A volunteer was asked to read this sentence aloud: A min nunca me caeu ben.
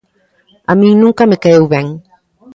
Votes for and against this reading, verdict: 1, 2, rejected